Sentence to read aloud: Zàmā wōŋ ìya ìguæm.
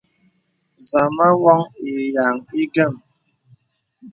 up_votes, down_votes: 2, 0